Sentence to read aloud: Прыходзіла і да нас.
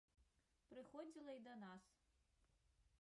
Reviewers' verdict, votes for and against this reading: rejected, 0, 2